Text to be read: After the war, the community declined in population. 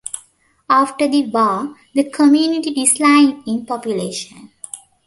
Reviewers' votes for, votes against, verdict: 0, 2, rejected